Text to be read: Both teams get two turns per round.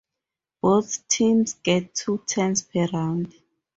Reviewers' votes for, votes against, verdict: 0, 2, rejected